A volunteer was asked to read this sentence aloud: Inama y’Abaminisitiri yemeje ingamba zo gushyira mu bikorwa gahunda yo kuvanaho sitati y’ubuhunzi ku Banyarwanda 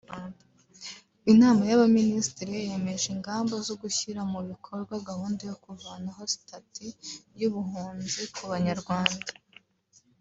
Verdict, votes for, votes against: accepted, 2, 0